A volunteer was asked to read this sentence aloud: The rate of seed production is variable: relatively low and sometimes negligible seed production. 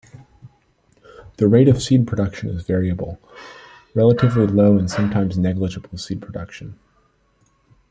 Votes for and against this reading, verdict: 2, 0, accepted